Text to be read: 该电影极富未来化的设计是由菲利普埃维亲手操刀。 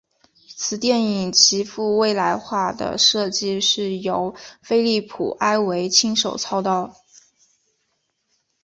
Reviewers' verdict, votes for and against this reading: accepted, 4, 2